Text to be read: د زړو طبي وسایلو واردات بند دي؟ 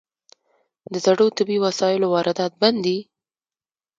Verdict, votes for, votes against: rejected, 1, 2